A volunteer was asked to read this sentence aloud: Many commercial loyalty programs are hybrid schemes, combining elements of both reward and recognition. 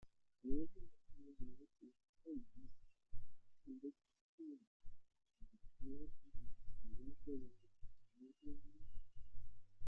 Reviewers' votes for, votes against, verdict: 0, 2, rejected